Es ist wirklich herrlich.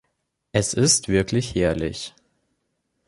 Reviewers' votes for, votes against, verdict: 2, 0, accepted